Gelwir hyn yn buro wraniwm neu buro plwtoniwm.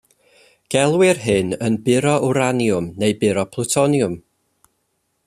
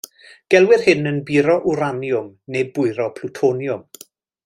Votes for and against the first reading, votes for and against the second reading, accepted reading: 2, 0, 0, 2, first